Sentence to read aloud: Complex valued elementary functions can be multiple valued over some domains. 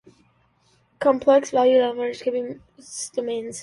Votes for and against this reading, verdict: 0, 2, rejected